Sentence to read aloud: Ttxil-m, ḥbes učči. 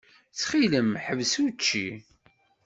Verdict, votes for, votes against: accepted, 2, 0